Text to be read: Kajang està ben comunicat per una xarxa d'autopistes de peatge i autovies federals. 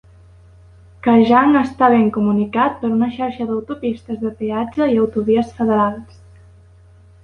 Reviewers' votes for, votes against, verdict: 2, 0, accepted